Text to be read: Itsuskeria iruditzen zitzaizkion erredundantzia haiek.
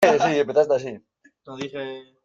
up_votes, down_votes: 0, 2